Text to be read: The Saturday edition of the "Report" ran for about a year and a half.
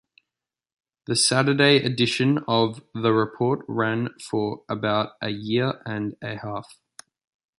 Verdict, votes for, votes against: accepted, 2, 0